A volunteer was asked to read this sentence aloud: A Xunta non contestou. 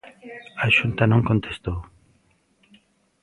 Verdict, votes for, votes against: accepted, 2, 0